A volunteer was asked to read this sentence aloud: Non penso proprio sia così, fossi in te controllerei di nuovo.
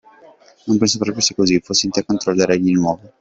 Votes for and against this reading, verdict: 0, 2, rejected